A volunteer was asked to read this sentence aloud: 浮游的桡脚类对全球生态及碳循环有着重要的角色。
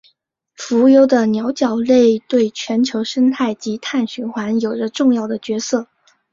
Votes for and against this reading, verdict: 3, 1, accepted